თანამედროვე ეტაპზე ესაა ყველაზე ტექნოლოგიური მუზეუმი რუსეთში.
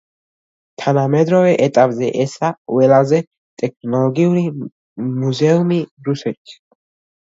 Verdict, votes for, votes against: accepted, 2, 1